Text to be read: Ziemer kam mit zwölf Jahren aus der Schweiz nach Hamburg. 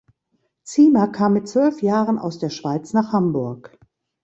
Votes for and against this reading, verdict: 2, 0, accepted